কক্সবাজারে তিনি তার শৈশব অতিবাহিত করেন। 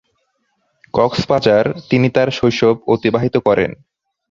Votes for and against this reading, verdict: 2, 6, rejected